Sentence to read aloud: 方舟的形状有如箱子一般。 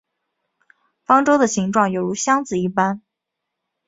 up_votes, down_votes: 0, 2